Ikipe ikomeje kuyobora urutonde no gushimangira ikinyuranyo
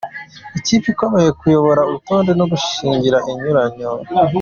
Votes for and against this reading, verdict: 1, 2, rejected